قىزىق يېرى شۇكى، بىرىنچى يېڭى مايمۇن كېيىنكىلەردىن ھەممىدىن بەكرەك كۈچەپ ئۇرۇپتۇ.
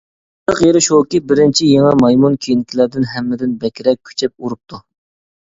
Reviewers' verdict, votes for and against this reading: rejected, 0, 2